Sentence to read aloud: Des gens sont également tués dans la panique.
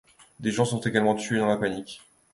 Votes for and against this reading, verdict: 2, 0, accepted